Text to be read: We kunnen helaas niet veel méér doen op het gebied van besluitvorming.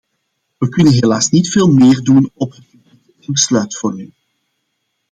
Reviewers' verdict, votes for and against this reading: rejected, 0, 2